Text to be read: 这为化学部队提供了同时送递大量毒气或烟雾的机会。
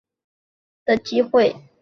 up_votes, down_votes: 0, 2